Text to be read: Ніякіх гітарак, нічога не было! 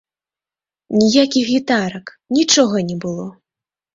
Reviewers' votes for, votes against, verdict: 3, 0, accepted